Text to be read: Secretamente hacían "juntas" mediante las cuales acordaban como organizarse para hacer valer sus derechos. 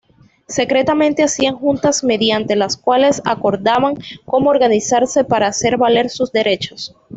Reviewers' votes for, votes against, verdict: 2, 0, accepted